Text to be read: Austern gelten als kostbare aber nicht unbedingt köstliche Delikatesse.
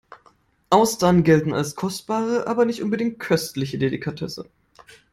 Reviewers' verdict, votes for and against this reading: accepted, 2, 0